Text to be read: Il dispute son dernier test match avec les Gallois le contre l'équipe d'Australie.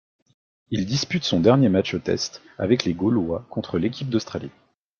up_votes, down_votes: 1, 2